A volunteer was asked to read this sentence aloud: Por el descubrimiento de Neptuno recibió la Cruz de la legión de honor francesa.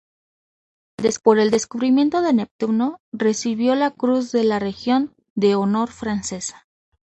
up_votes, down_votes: 0, 2